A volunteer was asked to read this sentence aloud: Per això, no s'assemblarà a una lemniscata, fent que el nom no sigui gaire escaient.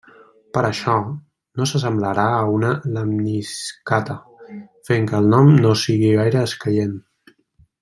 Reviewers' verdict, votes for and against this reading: rejected, 0, 2